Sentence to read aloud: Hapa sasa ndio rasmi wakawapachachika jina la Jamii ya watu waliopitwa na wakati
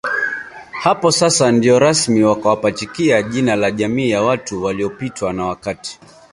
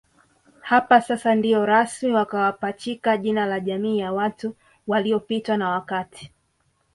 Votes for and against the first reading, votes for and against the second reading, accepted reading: 1, 2, 2, 0, second